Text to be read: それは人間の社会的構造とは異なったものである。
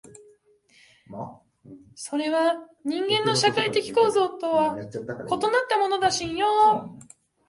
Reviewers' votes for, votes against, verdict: 1, 3, rejected